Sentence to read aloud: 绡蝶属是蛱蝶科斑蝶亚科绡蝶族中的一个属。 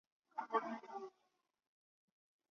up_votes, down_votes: 0, 2